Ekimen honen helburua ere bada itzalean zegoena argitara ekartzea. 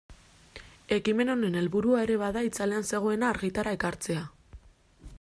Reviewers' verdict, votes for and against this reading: accepted, 2, 0